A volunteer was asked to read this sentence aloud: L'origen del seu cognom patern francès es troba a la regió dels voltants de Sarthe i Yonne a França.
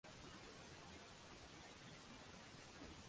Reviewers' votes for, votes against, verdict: 0, 2, rejected